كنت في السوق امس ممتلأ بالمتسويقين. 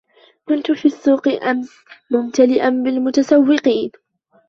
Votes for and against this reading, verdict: 1, 2, rejected